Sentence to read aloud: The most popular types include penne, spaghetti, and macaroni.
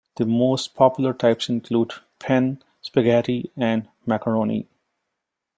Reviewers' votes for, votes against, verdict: 1, 2, rejected